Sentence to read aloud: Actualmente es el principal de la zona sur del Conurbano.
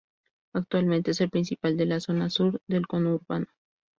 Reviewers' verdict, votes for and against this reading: rejected, 0, 2